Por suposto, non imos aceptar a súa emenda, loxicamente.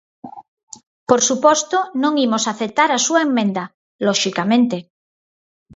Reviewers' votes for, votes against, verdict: 2, 4, rejected